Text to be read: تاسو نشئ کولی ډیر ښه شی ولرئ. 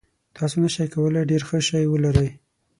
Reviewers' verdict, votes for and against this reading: accepted, 6, 0